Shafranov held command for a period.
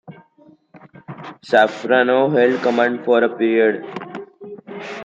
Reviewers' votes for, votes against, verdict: 2, 1, accepted